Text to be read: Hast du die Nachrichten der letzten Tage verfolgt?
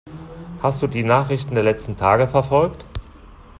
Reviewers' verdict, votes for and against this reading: accepted, 2, 0